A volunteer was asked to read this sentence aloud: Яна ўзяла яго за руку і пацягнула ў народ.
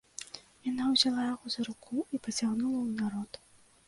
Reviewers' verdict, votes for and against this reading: rejected, 1, 2